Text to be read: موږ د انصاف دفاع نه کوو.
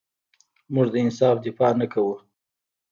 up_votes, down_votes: 1, 2